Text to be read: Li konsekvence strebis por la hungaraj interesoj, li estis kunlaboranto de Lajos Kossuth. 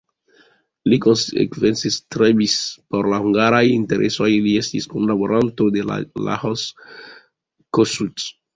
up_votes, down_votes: 1, 2